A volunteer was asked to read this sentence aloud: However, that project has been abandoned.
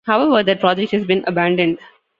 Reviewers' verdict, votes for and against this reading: rejected, 0, 2